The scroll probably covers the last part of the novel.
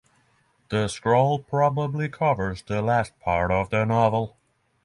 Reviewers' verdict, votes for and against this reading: accepted, 6, 0